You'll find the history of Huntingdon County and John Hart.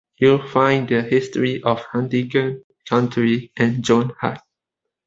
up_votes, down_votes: 0, 2